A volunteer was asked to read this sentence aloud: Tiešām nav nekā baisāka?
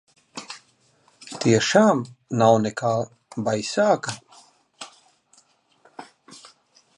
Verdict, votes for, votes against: accepted, 2, 1